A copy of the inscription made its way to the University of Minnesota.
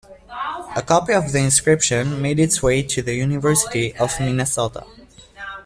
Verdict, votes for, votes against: accepted, 3, 1